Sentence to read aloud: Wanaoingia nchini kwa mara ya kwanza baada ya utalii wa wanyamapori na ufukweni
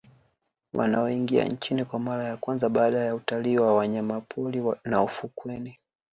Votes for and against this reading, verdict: 2, 0, accepted